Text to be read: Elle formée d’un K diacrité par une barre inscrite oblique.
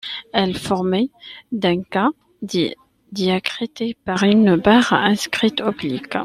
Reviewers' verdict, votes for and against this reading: rejected, 0, 2